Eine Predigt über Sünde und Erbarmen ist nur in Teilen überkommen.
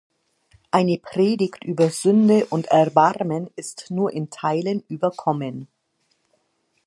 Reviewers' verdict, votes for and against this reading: accepted, 2, 0